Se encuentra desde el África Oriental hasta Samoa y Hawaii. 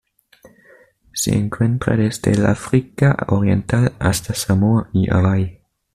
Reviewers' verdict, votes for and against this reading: rejected, 1, 2